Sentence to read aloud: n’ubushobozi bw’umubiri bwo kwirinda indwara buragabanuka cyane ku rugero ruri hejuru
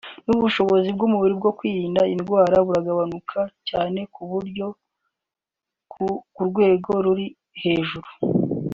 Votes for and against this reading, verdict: 3, 4, rejected